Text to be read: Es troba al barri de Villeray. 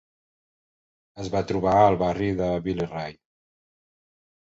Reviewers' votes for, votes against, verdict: 0, 3, rejected